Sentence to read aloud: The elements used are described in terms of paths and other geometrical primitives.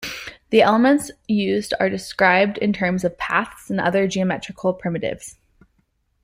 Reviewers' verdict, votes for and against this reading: accepted, 2, 0